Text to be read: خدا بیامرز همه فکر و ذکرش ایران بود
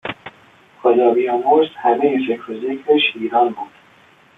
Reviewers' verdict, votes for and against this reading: accepted, 2, 0